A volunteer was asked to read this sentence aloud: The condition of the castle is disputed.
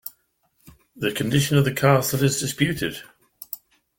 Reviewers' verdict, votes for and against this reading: accepted, 2, 0